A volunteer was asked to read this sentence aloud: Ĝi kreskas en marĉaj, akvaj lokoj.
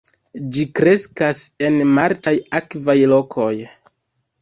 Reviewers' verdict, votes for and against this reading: rejected, 0, 2